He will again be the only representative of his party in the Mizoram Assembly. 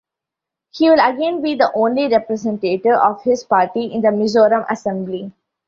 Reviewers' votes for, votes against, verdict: 2, 0, accepted